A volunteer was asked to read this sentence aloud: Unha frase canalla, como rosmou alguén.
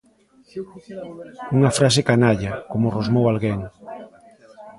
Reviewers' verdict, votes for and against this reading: rejected, 1, 2